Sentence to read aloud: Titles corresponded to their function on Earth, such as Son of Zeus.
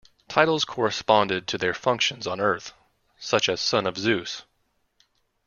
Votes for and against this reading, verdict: 1, 2, rejected